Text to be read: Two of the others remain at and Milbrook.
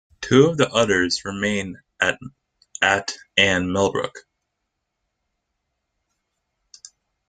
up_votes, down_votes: 1, 3